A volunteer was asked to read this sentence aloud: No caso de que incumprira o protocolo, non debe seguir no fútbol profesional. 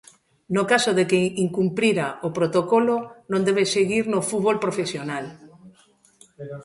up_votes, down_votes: 1, 2